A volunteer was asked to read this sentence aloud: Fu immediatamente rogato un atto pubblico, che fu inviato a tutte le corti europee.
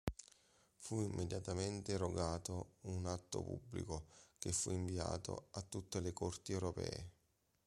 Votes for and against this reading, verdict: 2, 0, accepted